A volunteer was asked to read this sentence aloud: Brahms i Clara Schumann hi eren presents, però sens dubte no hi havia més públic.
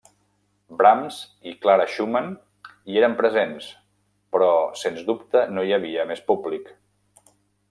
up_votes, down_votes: 2, 0